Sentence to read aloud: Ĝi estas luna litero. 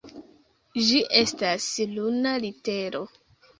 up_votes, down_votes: 2, 0